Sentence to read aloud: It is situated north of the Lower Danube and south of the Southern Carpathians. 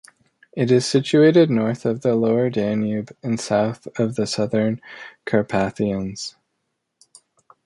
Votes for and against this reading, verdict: 2, 0, accepted